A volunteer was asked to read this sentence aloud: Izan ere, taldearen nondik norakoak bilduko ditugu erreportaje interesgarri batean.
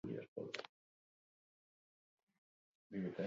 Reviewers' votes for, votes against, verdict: 0, 2, rejected